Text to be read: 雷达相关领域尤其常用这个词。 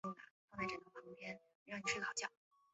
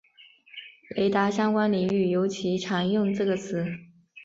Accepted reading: second